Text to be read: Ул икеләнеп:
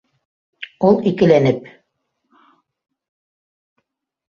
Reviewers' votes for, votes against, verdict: 2, 0, accepted